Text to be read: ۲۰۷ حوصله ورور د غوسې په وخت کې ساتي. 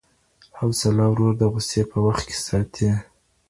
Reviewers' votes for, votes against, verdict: 0, 2, rejected